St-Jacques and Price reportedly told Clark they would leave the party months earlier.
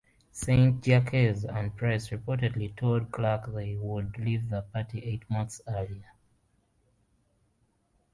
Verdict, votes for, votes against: rejected, 1, 2